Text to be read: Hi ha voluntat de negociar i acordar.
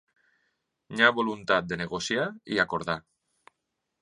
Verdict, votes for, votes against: accepted, 2, 0